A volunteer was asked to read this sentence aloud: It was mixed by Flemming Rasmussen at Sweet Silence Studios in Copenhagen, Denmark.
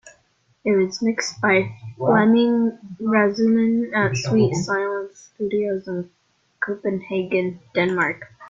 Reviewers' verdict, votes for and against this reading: rejected, 0, 2